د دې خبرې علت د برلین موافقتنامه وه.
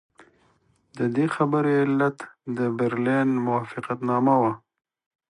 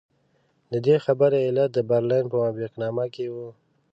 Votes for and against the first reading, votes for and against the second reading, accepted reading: 2, 0, 0, 2, first